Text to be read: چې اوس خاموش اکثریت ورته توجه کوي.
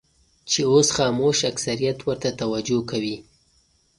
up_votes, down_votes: 2, 0